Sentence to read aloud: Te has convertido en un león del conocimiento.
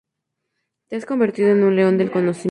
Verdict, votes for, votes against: rejected, 0, 2